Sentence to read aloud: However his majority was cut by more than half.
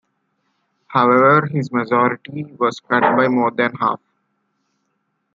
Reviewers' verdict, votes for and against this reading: accepted, 2, 1